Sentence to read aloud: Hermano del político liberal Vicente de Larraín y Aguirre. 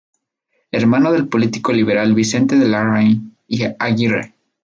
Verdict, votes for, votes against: accepted, 2, 0